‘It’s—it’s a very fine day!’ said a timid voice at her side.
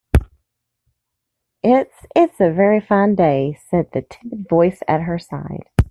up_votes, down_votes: 0, 2